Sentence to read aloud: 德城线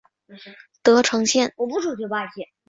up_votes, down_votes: 6, 0